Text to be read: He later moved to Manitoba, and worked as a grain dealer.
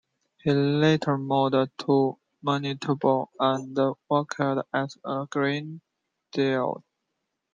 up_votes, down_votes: 0, 2